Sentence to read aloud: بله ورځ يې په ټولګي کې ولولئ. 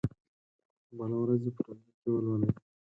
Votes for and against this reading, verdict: 2, 4, rejected